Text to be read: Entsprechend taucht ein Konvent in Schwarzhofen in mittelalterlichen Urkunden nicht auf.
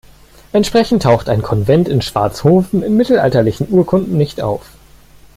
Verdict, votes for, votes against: accepted, 2, 0